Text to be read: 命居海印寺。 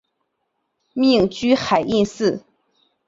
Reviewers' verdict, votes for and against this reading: accepted, 4, 0